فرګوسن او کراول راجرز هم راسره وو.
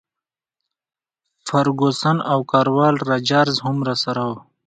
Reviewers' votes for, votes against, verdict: 2, 0, accepted